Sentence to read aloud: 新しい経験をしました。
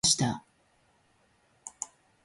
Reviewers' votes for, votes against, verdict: 0, 2, rejected